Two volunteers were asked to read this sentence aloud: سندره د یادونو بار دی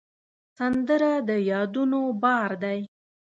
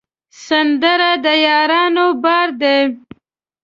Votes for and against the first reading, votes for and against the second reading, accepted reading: 2, 0, 1, 2, first